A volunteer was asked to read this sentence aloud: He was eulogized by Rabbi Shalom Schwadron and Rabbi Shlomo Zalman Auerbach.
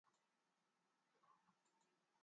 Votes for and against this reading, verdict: 0, 2, rejected